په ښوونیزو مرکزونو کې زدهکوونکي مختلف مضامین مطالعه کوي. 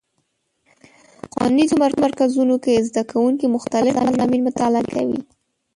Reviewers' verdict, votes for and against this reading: rejected, 0, 2